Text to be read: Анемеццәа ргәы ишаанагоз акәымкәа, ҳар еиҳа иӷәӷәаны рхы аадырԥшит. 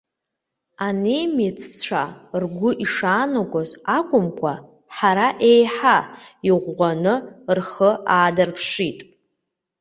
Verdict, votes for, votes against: rejected, 1, 2